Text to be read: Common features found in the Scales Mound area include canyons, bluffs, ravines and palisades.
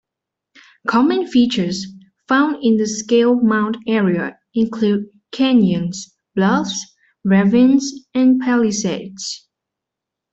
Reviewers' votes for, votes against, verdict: 0, 2, rejected